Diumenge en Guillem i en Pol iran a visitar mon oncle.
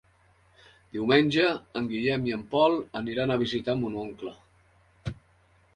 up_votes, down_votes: 1, 3